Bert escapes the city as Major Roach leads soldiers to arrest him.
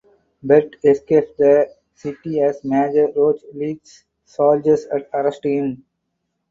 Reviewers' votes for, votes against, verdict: 2, 4, rejected